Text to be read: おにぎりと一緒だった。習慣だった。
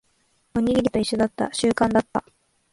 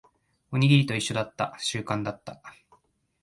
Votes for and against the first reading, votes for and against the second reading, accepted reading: 1, 2, 2, 0, second